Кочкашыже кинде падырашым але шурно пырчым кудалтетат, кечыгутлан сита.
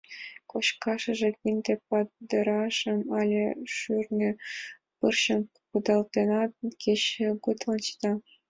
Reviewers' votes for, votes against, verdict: 0, 2, rejected